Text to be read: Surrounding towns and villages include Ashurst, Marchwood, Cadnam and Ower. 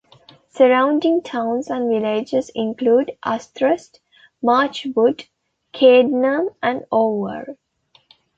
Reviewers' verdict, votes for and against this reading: rejected, 1, 2